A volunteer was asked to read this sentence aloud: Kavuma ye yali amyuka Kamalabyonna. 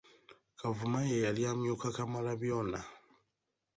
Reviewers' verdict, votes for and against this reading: rejected, 1, 2